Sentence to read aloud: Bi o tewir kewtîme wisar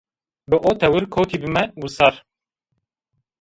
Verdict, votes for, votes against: accepted, 2, 0